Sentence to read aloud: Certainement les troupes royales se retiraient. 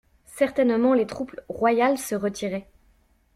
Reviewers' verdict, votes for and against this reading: accepted, 3, 0